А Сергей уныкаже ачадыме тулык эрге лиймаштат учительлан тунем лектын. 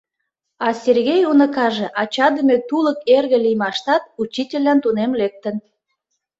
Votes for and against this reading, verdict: 2, 0, accepted